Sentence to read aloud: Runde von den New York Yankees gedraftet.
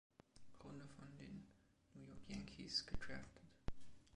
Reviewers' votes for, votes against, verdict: 0, 2, rejected